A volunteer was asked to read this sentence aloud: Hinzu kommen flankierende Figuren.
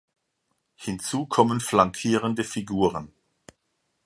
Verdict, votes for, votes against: accepted, 2, 0